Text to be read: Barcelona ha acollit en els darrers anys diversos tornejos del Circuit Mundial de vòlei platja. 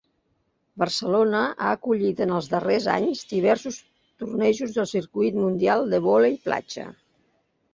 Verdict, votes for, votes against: accepted, 2, 0